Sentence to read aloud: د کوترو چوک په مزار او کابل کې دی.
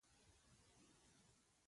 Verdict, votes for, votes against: rejected, 0, 2